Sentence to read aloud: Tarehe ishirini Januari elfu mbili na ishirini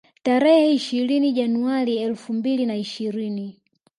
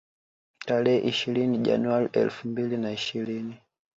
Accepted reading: first